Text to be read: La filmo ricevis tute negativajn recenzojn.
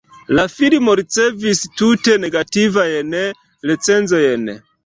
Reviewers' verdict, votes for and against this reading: rejected, 2, 3